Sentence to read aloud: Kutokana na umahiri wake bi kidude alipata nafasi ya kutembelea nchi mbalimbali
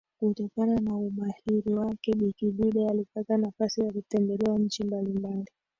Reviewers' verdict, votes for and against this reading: accepted, 2, 1